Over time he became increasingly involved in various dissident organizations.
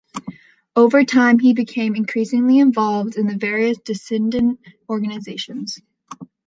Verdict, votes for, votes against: rejected, 1, 2